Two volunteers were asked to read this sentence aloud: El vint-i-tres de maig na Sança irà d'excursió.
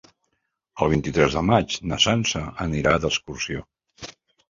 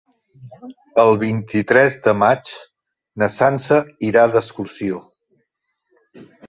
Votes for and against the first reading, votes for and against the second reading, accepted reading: 1, 2, 2, 0, second